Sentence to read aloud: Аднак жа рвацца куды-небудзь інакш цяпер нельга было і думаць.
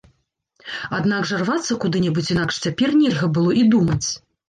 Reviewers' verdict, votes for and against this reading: accepted, 2, 0